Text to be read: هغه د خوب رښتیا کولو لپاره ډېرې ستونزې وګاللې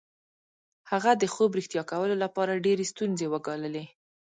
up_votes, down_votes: 1, 2